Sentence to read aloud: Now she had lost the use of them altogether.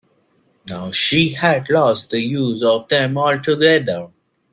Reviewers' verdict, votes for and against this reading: rejected, 1, 2